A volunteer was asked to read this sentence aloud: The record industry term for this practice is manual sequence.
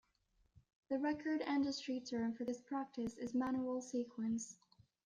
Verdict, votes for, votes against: accepted, 2, 0